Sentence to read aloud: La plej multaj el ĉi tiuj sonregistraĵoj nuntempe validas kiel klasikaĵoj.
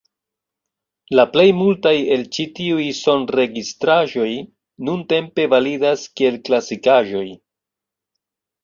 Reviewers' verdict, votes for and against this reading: rejected, 1, 2